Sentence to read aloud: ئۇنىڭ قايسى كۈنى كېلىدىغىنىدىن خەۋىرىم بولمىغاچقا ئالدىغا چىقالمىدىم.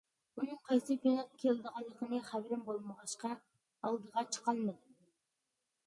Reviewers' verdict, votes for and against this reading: rejected, 0, 2